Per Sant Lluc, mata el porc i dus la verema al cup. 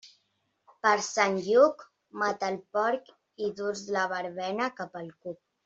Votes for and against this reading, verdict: 0, 2, rejected